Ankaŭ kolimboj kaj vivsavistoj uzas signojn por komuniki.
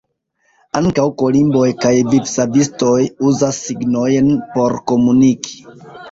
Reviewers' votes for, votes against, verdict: 1, 2, rejected